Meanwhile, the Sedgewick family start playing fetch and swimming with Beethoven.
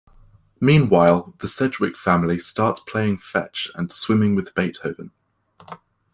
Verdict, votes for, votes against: accepted, 2, 1